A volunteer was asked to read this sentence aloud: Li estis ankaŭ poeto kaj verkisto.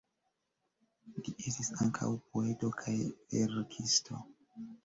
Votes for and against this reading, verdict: 1, 2, rejected